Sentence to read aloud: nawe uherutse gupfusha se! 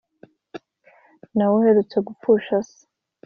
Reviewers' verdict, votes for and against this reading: accepted, 2, 0